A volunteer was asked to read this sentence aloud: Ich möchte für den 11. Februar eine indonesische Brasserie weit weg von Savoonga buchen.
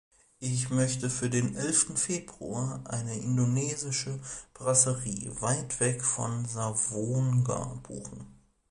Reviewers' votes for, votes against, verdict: 0, 2, rejected